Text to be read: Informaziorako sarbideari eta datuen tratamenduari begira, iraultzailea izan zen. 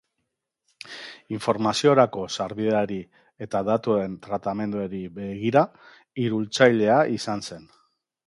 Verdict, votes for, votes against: rejected, 0, 3